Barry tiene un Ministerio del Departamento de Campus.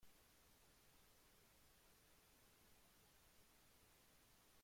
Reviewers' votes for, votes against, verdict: 0, 2, rejected